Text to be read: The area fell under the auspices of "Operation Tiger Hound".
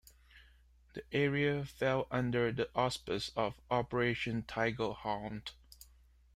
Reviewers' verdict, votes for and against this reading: rejected, 0, 2